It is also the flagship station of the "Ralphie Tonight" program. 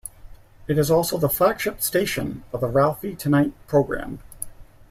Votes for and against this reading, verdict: 2, 0, accepted